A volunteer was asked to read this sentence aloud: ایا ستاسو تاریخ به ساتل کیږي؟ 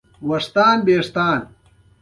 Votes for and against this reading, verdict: 1, 2, rejected